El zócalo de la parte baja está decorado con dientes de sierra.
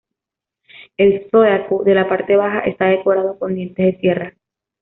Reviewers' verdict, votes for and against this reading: rejected, 0, 2